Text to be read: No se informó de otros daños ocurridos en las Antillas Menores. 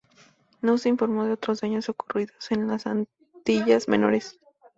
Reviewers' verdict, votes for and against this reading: accepted, 4, 0